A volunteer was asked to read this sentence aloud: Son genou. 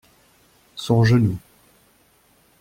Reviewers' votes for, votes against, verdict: 2, 0, accepted